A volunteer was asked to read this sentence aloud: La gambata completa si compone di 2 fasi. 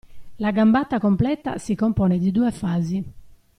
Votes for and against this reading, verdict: 0, 2, rejected